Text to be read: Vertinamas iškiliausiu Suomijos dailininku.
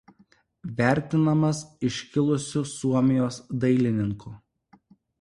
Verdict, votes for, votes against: accepted, 2, 1